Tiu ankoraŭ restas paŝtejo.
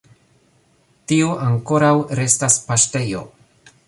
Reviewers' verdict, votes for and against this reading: rejected, 1, 2